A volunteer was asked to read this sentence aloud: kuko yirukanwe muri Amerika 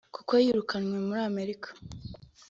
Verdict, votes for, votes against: accepted, 2, 0